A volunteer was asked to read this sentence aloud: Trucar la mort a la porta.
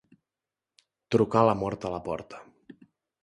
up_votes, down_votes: 2, 0